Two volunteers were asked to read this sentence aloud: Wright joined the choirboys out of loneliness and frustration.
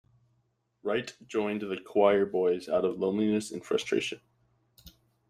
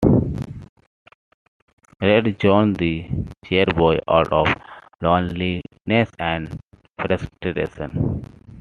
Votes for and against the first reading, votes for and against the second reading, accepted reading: 2, 0, 0, 2, first